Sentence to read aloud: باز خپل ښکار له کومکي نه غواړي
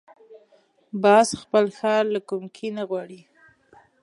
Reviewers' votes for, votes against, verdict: 1, 2, rejected